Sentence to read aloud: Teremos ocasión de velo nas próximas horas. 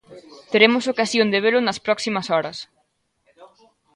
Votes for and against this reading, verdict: 1, 2, rejected